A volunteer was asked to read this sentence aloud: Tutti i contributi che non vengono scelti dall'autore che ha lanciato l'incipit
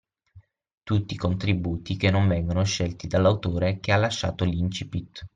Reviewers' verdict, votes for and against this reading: rejected, 0, 6